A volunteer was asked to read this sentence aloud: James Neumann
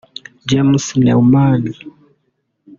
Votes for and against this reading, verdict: 0, 2, rejected